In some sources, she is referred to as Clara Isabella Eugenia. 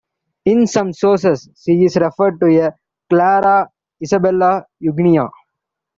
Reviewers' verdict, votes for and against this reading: rejected, 2, 3